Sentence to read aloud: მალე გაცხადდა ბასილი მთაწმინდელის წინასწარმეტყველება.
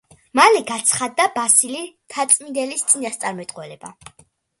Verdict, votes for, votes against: accepted, 2, 0